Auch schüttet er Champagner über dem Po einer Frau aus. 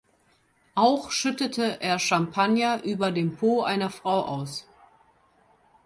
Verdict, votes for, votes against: accepted, 2, 0